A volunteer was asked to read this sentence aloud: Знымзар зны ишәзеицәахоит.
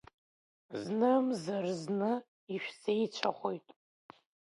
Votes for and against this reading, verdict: 2, 1, accepted